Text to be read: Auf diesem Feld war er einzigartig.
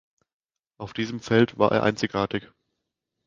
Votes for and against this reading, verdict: 2, 0, accepted